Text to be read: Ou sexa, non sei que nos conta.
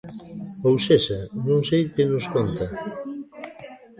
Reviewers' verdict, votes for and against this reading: rejected, 1, 2